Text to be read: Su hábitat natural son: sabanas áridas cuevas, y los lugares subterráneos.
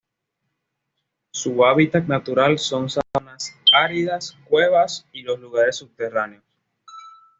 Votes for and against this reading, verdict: 1, 2, rejected